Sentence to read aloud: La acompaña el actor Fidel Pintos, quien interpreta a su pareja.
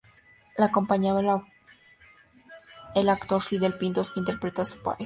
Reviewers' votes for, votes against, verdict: 2, 2, rejected